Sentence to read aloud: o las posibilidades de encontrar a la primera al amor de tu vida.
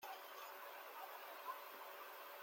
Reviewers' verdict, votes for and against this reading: rejected, 0, 2